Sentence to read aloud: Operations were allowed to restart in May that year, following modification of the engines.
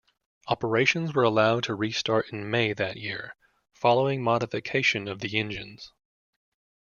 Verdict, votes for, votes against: accepted, 2, 0